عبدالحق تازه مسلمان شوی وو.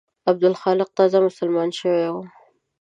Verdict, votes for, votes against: rejected, 1, 2